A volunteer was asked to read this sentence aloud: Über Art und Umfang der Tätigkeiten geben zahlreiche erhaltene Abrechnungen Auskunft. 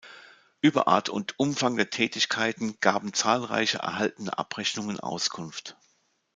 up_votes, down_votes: 1, 2